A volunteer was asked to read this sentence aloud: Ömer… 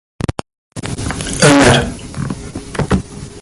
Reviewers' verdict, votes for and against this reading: rejected, 0, 2